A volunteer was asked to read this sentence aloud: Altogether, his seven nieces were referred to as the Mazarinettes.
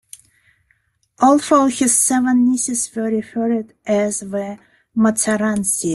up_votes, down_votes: 0, 2